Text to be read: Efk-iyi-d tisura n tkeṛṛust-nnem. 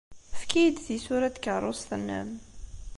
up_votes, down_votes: 2, 0